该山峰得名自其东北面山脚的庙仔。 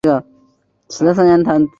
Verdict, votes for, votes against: rejected, 0, 2